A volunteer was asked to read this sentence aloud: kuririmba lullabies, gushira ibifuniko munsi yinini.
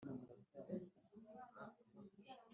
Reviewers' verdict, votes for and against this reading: rejected, 2, 3